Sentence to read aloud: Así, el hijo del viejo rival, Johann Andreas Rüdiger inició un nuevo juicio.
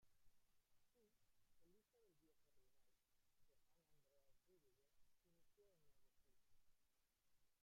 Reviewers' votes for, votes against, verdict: 0, 2, rejected